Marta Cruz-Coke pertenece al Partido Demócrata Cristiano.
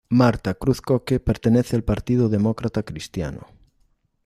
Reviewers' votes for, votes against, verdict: 2, 0, accepted